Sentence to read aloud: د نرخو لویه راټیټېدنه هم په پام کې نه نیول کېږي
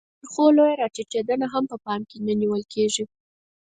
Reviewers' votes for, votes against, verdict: 2, 4, rejected